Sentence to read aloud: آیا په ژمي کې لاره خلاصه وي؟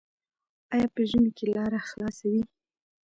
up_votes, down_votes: 1, 2